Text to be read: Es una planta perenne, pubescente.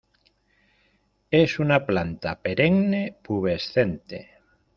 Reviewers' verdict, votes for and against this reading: accepted, 2, 0